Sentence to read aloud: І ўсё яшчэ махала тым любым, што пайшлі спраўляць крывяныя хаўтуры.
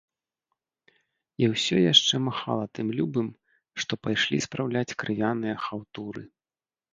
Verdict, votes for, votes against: accepted, 2, 0